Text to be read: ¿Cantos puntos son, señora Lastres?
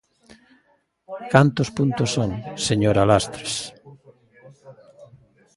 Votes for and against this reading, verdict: 1, 2, rejected